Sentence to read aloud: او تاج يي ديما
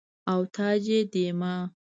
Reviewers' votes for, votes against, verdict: 1, 2, rejected